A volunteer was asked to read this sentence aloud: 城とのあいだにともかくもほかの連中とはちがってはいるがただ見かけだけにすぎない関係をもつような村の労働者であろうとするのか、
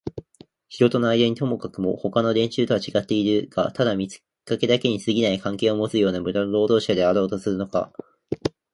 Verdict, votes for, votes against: rejected, 0, 2